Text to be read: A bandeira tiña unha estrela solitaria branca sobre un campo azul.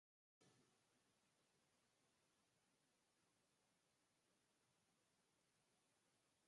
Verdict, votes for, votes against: rejected, 0, 4